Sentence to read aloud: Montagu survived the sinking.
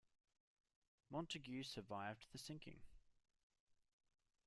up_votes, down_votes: 2, 1